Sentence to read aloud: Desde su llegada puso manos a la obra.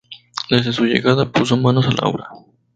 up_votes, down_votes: 2, 0